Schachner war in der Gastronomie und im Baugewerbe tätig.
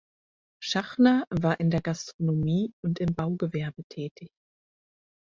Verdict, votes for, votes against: accepted, 4, 0